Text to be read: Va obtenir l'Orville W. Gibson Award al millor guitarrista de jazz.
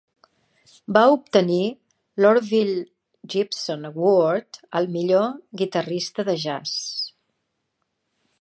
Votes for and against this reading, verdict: 2, 1, accepted